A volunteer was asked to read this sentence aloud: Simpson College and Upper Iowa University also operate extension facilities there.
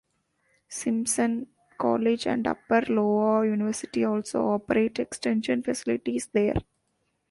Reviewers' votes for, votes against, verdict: 0, 2, rejected